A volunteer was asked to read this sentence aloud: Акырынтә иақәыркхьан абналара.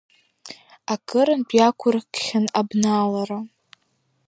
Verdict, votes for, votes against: accepted, 2, 1